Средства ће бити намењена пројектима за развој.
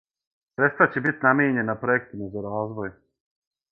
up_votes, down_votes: 0, 6